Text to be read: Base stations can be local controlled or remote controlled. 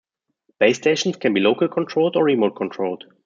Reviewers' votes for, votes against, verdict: 2, 0, accepted